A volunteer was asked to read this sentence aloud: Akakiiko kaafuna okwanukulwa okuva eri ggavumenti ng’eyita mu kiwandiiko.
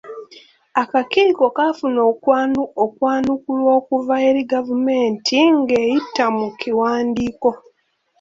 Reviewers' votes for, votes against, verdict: 2, 3, rejected